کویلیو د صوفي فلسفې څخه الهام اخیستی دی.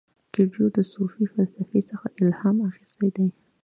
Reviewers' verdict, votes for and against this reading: rejected, 1, 2